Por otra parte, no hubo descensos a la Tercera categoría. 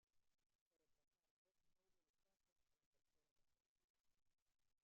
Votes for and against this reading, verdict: 0, 2, rejected